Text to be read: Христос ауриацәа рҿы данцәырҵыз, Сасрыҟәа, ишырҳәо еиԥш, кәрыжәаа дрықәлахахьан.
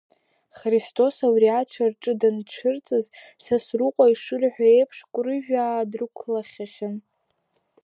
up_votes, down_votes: 0, 2